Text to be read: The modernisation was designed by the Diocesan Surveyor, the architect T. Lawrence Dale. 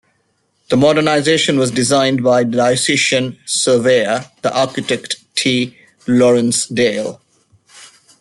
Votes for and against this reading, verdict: 1, 2, rejected